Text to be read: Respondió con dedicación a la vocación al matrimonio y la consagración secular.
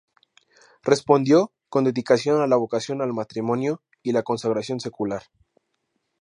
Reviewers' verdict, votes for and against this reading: accepted, 2, 0